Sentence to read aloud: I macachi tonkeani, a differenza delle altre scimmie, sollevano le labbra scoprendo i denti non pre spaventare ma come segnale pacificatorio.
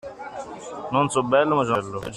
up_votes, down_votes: 0, 2